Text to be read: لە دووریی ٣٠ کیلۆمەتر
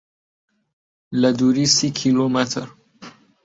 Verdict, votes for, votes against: rejected, 0, 2